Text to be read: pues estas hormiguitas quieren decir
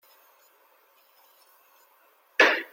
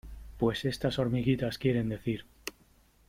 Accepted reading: second